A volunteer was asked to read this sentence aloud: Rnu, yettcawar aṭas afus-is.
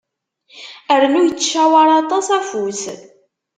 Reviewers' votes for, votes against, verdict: 0, 2, rejected